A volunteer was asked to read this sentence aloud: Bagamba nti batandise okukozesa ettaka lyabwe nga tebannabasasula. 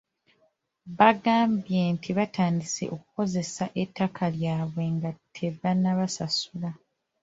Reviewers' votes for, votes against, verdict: 1, 2, rejected